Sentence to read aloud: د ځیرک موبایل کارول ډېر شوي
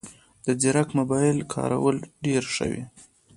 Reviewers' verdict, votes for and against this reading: rejected, 1, 2